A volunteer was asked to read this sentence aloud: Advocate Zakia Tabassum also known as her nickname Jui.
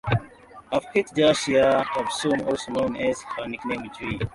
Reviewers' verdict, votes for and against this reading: rejected, 0, 2